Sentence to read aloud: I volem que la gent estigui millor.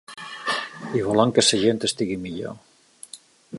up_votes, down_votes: 1, 2